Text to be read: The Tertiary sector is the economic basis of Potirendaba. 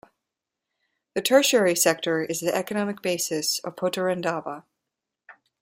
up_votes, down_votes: 2, 0